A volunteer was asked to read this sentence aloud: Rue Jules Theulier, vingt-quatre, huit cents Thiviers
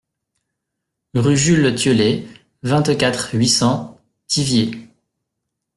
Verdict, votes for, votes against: rejected, 1, 2